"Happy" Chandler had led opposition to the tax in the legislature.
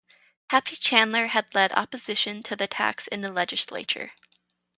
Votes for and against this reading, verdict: 4, 0, accepted